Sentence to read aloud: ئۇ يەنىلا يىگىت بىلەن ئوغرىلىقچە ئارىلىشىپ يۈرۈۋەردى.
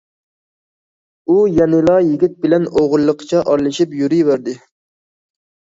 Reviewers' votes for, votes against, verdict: 2, 0, accepted